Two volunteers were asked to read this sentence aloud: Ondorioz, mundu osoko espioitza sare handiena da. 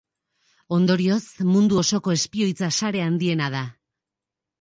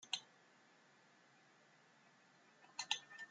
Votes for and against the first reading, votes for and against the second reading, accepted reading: 2, 0, 0, 2, first